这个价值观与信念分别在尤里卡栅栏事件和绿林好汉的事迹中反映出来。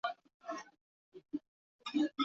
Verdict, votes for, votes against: rejected, 0, 2